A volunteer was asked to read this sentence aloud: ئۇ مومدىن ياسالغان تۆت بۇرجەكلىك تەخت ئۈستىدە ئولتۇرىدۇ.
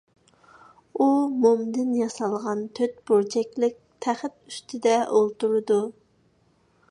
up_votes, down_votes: 2, 0